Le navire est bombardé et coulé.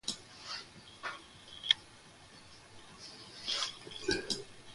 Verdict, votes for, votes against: rejected, 1, 2